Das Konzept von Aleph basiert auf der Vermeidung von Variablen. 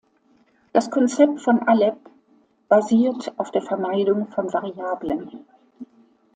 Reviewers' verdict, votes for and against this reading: accepted, 2, 0